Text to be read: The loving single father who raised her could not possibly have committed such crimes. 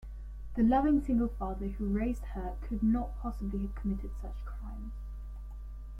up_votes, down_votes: 2, 1